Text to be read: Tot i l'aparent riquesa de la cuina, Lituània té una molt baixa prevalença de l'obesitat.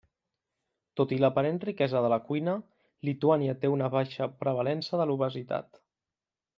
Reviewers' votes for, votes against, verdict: 1, 2, rejected